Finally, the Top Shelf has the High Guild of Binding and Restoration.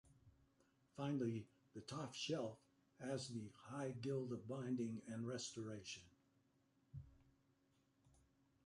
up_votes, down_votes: 1, 2